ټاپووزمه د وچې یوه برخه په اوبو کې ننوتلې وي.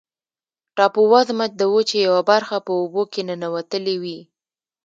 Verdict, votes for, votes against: rejected, 0, 2